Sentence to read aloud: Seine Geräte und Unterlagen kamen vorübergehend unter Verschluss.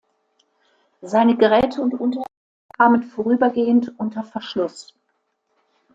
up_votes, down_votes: 0, 2